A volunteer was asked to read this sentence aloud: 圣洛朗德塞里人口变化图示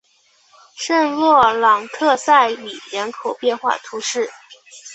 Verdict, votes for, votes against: accepted, 2, 1